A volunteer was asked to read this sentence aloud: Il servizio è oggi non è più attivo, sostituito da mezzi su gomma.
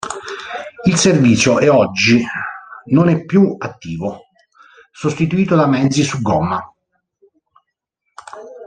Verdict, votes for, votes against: rejected, 0, 2